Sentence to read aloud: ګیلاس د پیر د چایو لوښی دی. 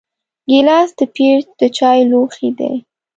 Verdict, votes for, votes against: accepted, 2, 0